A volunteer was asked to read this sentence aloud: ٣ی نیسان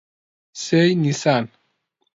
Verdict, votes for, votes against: rejected, 0, 2